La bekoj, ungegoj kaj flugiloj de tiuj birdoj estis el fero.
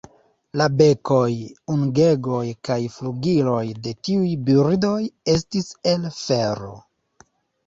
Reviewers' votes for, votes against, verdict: 0, 2, rejected